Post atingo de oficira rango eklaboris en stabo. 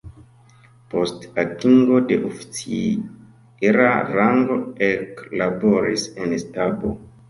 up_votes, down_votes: 0, 2